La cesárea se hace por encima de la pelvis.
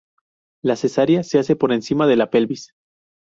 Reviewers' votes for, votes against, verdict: 0, 2, rejected